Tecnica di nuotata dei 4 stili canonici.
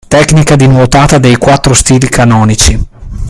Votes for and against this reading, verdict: 0, 2, rejected